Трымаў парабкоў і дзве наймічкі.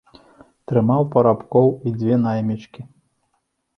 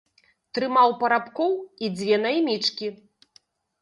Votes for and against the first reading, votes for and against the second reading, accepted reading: 2, 0, 1, 2, first